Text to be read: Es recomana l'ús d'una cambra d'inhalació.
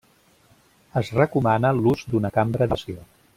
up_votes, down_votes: 0, 2